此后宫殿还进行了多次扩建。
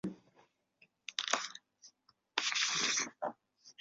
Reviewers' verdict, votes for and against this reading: rejected, 0, 3